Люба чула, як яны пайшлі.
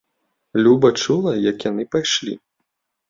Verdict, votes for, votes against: accepted, 2, 0